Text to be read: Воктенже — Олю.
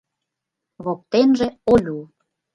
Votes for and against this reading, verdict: 2, 0, accepted